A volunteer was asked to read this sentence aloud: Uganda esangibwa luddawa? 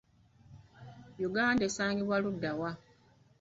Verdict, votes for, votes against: accepted, 2, 1